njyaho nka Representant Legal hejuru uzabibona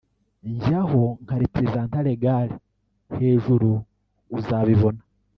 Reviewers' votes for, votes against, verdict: 0, 2, rejected